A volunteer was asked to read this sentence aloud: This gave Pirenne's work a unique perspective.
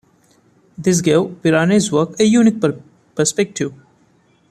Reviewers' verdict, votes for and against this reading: rejected, 0, 2